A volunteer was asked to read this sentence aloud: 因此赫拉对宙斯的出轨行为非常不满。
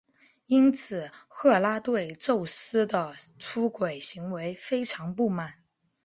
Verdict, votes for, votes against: accepted, 2, 1